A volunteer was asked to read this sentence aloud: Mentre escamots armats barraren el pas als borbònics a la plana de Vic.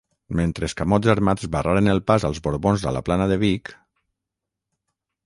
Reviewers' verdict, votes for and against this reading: rejected, 3, 6